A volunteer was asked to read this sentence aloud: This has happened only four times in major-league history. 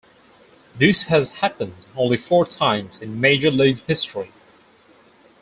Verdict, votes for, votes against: accepted, 2, 0